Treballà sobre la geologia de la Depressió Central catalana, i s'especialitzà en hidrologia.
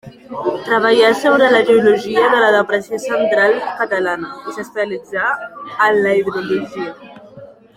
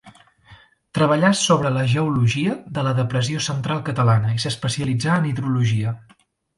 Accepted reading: second